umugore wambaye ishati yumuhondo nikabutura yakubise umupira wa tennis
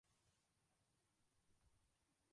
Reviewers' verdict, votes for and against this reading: rejected, 0, 2